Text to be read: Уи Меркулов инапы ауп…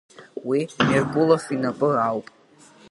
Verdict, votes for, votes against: accepted, 2, 0